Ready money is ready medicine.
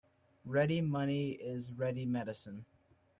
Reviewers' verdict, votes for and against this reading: accepted, 2, 1